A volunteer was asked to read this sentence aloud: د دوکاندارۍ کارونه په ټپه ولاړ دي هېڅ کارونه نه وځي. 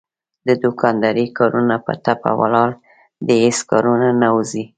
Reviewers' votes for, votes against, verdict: 2, 0, accepted